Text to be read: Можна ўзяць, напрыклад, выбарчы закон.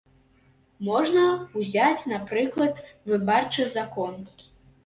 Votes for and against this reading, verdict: 0, 3, rejected